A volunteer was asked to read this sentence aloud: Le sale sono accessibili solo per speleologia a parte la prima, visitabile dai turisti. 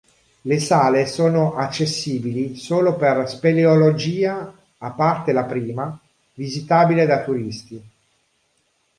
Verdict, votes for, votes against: rejected, 0, 2